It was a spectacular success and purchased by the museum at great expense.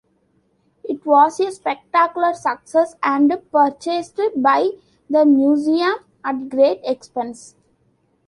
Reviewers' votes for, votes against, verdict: 0, 2, rejected